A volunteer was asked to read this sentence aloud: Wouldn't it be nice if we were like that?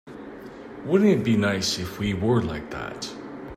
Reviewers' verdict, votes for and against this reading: accepted, 3, 0